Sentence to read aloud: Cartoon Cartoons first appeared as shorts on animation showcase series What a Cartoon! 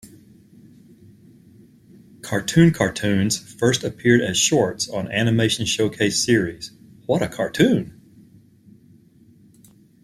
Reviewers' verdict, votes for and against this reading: accepted, 2, 1